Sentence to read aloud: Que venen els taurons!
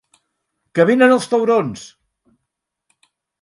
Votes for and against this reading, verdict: 6, 0, accepted